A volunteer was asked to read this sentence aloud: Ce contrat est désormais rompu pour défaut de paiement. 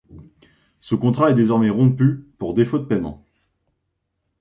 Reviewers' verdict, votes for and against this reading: accepted, 2, 0